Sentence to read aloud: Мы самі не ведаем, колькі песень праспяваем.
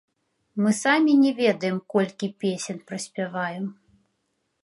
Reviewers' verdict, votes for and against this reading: rejected, 1, 2